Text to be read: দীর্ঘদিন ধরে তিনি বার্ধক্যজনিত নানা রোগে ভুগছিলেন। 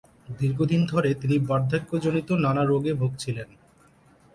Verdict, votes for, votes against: accepted, 3, 0